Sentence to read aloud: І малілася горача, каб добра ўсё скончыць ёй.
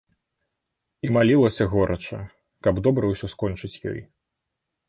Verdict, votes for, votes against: accepted, 2, 0